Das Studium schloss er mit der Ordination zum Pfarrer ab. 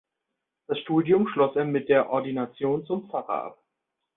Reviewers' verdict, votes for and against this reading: accepted, 2, 0